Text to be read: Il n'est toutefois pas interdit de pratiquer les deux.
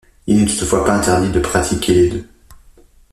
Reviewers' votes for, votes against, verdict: 2, 0, accepted